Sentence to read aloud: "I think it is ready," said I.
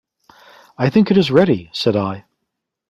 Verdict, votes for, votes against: accepted, 2, 0